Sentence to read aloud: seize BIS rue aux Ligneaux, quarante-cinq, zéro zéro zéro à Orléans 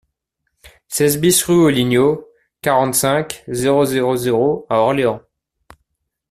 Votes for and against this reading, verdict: 2, 0, accepted